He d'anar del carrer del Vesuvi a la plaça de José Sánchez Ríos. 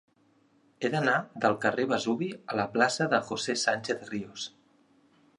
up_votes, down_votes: 2, 1